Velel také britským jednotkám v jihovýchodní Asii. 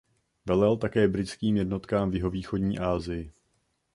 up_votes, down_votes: 2, 0